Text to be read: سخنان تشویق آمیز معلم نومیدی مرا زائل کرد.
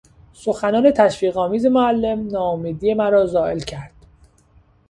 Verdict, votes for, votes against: rejected, 1, 2